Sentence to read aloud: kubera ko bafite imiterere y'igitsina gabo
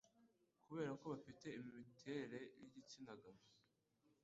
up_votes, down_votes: 1, 2